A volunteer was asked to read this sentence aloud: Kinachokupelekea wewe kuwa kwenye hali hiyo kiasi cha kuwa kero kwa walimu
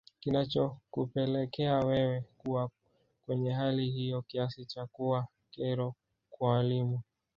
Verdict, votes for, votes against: accepted, 3, 1